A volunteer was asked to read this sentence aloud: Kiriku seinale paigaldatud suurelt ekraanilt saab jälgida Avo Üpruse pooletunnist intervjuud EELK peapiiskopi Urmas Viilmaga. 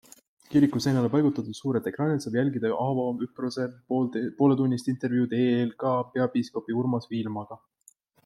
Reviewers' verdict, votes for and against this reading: rejected, 1, 2